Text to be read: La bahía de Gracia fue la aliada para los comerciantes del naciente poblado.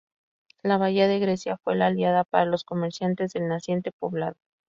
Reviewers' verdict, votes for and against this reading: rejected, 0, 4